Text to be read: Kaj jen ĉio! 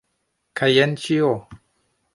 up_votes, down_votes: 2, 0